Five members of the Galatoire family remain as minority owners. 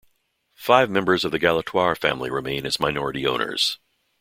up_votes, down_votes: 2, 0